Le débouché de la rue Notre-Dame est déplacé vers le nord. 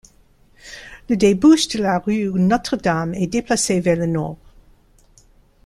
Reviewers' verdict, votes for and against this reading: rejected, 1, 2